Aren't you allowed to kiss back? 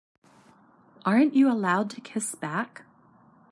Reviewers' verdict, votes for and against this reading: accepted, 2, 0